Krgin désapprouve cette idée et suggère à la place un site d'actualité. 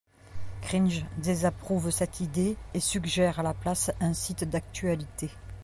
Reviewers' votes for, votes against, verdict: 0, 2, rejected